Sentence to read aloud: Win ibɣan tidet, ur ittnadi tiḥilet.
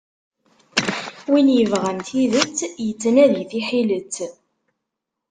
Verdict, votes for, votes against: rejected, 1, 2